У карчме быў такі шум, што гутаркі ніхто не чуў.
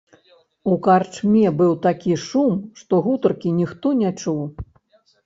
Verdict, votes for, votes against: rejected, 1, 2